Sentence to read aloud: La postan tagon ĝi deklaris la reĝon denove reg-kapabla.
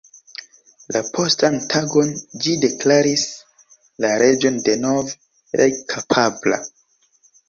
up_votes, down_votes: 2, 0